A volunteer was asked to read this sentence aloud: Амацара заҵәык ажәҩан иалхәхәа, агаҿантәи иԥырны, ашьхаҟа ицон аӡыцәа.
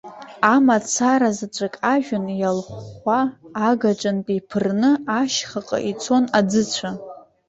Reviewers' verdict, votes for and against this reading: accepted, 2, 0